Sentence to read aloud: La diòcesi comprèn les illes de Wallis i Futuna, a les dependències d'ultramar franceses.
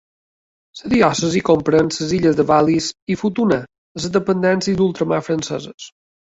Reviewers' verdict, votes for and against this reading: rejected, 1, 2